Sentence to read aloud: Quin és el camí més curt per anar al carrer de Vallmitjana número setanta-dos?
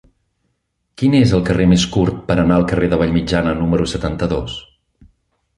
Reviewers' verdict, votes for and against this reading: rejected, 1, 2